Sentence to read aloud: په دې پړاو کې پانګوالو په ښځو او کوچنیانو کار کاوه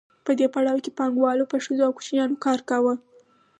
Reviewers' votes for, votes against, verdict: 4, 0, accepted